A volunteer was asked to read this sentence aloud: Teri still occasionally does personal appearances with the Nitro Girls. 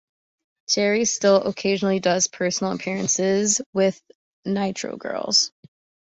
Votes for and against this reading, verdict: 1, 2, rejected